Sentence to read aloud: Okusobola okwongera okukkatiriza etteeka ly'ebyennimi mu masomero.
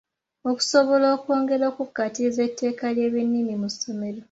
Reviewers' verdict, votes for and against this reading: accepted, 2, 0